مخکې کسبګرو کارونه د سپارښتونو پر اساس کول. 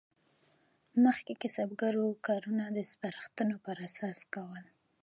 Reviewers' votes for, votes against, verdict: 0, 2, rejected